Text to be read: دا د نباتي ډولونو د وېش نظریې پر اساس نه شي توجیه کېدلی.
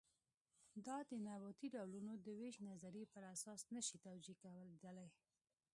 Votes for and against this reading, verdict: 0, 2, rejected